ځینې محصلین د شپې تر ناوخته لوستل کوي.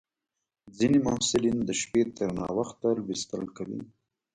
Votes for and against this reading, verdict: 2, 1, accepted